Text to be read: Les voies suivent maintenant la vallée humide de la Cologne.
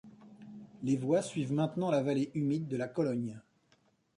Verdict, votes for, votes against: accepted, 2, 0